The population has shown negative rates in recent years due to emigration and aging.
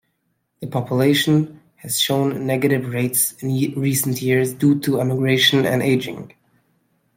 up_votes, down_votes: 1, 2